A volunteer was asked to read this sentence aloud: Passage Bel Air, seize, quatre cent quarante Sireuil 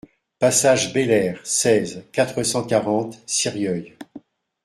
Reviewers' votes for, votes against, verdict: 0, 2, rejected